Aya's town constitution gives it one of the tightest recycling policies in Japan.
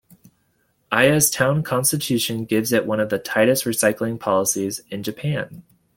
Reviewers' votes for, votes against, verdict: 2, 0, accepted